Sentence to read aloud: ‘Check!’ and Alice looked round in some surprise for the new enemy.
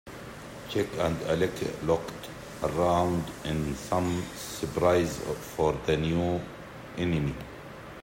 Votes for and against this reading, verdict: 0, 2, rejected